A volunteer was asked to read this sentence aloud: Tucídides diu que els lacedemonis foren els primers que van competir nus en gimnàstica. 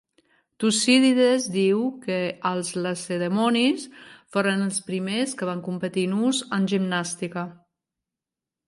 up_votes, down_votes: 1, 2